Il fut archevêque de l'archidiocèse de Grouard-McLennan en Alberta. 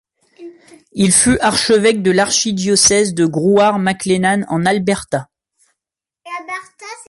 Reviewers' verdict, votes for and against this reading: rejected, 0, 2